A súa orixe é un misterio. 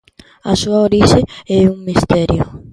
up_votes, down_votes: 2, 0